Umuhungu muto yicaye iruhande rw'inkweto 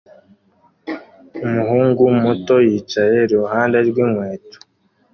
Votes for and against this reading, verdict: 2, 0, accepted